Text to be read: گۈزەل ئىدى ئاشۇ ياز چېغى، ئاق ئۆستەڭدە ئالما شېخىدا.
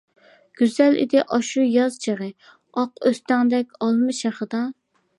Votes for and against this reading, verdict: 0, 2, rejected